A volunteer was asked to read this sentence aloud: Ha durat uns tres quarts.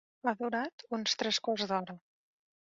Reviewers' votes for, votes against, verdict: 0, 2, rejected